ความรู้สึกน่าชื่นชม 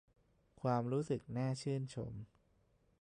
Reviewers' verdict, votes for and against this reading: rejected, 1, 2